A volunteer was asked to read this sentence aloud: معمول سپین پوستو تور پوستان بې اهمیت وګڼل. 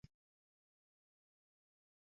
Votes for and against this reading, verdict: 0, 2, rejected